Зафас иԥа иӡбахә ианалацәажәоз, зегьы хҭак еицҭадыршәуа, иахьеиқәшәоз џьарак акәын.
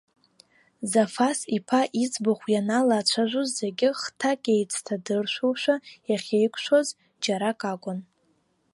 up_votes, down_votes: 1, 2